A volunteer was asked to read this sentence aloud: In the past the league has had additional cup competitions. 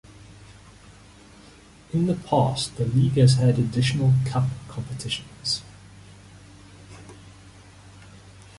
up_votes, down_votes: 2, 1